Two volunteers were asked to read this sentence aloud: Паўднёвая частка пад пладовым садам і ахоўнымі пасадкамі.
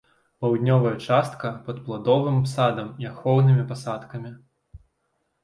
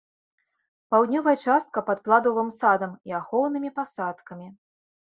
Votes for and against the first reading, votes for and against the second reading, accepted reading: 2, 0, 1, 2, first